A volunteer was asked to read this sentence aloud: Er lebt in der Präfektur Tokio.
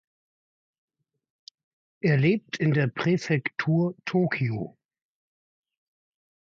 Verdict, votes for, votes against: accepted, 2, 0